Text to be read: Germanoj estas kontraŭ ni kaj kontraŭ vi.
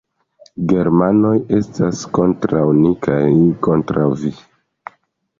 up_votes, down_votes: 2, 0